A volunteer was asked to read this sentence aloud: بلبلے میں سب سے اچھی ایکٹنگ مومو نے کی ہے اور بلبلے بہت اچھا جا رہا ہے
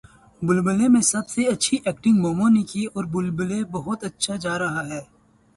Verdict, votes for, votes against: accepted, 2, 0